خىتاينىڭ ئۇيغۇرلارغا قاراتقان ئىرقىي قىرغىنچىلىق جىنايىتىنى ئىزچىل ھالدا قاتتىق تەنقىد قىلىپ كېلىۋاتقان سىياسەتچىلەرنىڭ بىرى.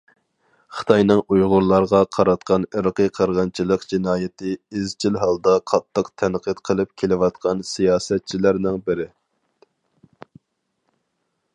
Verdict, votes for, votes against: rejected, 0, 2